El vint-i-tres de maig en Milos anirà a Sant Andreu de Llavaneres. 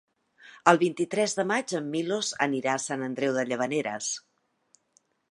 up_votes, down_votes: 3, 0